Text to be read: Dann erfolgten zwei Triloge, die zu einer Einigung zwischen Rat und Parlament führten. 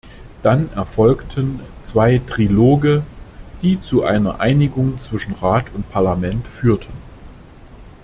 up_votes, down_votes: 2, 0